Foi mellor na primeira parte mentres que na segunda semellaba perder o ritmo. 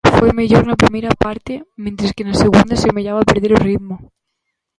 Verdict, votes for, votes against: rejected, 0, 2